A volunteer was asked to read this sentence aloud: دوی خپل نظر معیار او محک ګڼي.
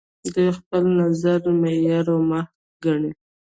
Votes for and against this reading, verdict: 0, 2, rejected